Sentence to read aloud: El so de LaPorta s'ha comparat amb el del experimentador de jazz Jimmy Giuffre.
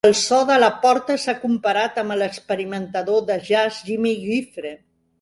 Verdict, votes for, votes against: rejected, 1, 2